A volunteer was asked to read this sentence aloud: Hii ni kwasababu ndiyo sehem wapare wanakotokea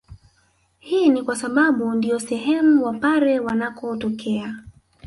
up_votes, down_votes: 1, 2